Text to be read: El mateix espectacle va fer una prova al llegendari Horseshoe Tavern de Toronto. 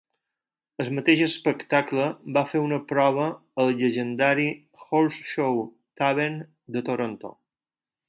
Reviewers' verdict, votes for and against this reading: rejected, 4, 6